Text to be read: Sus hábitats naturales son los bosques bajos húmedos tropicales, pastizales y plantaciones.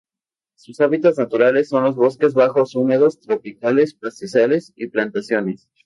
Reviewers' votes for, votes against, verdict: 0, 2, rejected